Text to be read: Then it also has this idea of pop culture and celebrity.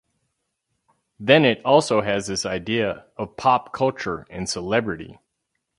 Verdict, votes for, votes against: accepted, 4, 0